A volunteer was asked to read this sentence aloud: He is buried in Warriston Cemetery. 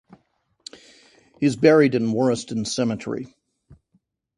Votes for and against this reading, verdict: 2, 0, accepted